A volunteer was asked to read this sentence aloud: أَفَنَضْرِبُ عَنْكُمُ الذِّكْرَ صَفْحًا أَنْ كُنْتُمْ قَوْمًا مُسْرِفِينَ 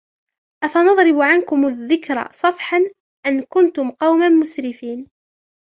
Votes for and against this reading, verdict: 3, 0, accepted